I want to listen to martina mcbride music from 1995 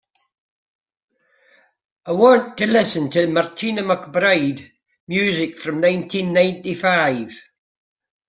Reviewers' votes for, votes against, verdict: 0, 2, rejected